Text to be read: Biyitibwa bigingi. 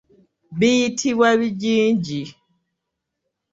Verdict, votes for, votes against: accepted, 2, 1